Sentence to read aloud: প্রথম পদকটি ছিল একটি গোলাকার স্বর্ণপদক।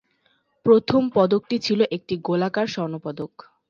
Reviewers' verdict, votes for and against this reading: accepted, 6, 0